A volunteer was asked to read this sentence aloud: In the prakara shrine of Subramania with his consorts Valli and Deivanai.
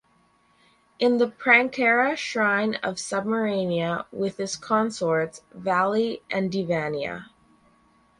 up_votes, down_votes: 0, 4